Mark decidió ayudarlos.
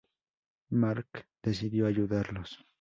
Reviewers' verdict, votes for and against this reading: accepted, 2, 0